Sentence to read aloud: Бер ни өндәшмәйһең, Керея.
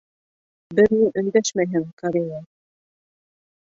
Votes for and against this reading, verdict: 0, 2, rejected